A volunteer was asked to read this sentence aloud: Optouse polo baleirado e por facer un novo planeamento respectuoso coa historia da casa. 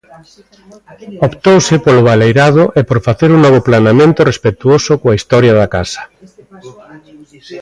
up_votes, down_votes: 2, 0